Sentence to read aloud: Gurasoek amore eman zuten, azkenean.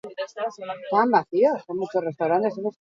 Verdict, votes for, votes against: rejected, 0, 2